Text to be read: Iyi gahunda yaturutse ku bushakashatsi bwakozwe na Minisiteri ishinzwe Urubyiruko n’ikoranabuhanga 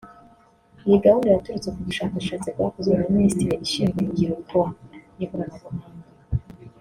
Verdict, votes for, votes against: rejected, 0, 2